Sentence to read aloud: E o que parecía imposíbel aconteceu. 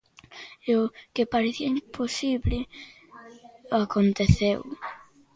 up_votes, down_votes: 0, 2